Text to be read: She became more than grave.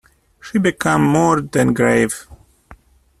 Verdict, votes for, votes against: rejected, 0, 2